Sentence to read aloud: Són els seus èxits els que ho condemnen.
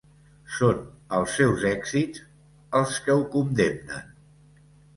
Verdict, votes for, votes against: accepted, 2, 0